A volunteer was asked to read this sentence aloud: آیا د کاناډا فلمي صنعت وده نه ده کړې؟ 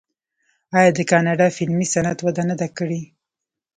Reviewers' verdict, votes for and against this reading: rejected, 0, 2